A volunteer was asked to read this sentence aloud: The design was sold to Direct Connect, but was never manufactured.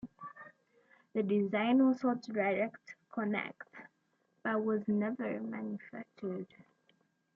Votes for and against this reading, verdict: 2, 0, accepted